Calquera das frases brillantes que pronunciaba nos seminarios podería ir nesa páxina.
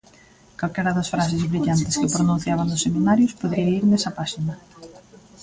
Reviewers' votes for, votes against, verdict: 1, 2, rejected